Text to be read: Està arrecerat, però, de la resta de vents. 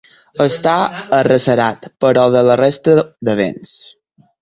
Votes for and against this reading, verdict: 4, 2, accepted